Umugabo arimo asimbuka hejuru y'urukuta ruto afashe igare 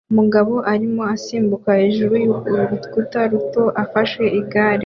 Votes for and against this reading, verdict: 1, 2, rejected